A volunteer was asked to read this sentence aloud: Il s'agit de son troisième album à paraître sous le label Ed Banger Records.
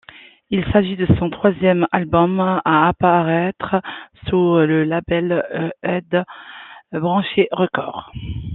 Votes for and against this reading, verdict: 0, 2, rejected